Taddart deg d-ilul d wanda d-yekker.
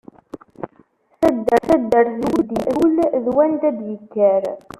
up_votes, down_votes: 0, 2